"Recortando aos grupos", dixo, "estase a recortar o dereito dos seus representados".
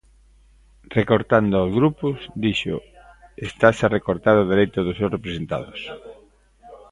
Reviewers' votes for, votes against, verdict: 1, 2, rejected